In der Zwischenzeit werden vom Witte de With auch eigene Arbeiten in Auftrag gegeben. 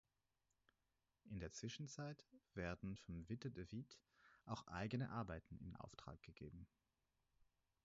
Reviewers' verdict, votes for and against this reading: rejected, 2, 4